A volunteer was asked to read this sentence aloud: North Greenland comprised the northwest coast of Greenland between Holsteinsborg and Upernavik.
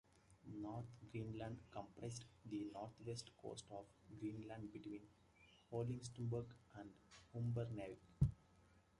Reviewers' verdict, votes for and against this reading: rejected, 0, 2